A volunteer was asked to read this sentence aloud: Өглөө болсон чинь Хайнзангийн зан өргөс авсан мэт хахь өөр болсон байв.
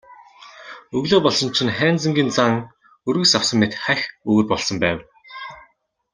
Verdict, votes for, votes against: accepted, 2, 0